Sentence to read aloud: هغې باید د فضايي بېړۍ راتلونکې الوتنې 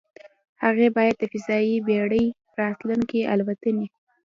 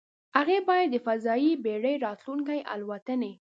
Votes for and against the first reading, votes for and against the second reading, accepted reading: 0, 2, 2, 0, second